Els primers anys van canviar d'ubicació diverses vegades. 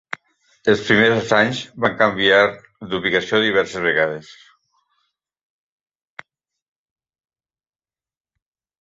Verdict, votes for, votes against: accepted, 3, 0